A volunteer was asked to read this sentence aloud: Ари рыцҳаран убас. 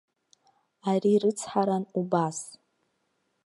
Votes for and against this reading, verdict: 2, 0, accepted